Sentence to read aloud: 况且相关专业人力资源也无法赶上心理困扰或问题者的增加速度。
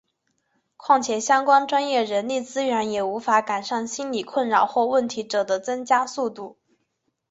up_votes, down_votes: 0, 2